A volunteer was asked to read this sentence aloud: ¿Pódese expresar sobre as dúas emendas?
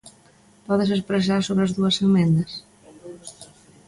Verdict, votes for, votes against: accepted, 2, 0